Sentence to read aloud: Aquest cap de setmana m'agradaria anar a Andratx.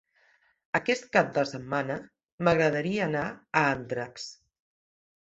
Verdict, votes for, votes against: accepted, 2, 0